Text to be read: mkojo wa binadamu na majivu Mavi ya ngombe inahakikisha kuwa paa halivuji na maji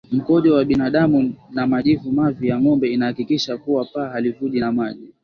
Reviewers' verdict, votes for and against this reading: accepted, 2, 1